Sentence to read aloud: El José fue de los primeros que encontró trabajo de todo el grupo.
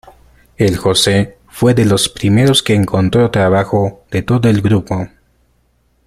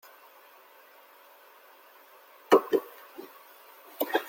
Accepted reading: first